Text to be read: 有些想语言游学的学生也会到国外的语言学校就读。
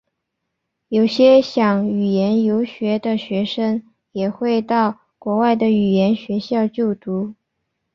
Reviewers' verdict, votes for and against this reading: accepted, 2, 0